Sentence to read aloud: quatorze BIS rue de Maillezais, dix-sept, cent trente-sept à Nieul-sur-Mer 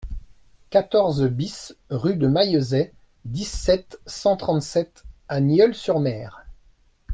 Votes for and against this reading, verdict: 2, 0, accepted